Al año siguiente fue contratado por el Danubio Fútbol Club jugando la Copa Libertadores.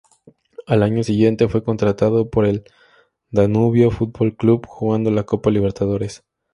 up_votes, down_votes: 2, 0